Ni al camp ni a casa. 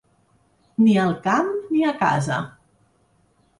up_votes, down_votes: 3, 0